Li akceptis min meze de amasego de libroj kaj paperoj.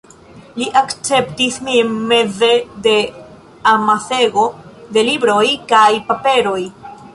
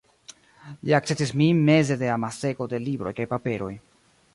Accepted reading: first